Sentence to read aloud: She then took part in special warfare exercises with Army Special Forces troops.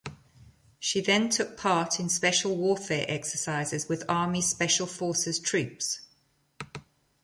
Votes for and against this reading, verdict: 2, 0, accepted